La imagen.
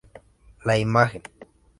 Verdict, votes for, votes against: accepted, 2, 0